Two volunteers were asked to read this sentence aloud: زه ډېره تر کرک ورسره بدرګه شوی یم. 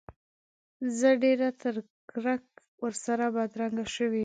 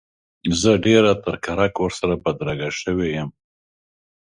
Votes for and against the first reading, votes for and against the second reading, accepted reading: 1, 2, 2, 0, second